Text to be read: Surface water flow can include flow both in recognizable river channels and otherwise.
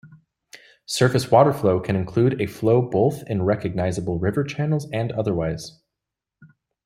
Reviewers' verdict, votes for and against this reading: rejected, 1, 2